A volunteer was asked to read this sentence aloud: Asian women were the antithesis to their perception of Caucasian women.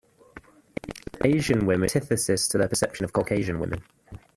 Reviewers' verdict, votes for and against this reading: rejected, 0, 2